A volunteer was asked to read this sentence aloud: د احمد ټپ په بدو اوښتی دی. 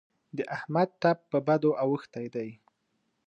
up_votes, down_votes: 2, 0